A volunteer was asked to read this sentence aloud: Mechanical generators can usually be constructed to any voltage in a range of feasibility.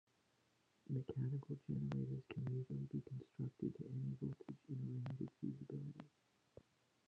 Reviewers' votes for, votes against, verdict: 1, 2, rejected